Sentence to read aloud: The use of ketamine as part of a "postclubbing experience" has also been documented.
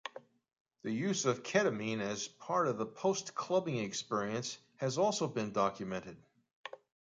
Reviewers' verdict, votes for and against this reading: accepted, 2, 0